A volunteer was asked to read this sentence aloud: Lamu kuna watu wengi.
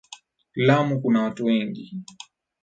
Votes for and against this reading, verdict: 2, 0, accepted